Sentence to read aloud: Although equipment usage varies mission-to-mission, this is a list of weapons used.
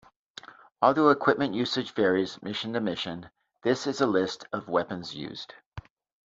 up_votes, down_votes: 2, 0